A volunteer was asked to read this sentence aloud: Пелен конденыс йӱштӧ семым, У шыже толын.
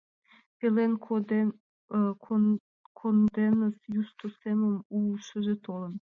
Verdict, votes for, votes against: rejected, 0, 2